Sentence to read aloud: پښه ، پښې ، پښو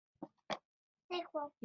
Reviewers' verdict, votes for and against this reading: rejected, 0, 2